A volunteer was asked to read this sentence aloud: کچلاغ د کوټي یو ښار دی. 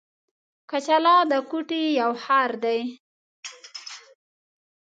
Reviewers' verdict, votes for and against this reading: rejected, 1, 2